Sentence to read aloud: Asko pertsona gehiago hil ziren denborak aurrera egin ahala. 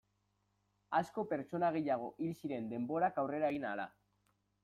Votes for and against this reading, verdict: 2, 0, accepted